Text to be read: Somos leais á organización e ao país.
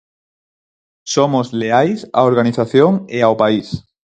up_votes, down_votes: 4, 0